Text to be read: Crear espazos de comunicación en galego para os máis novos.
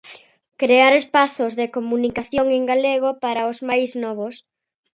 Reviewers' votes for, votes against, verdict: 2, 0, accepted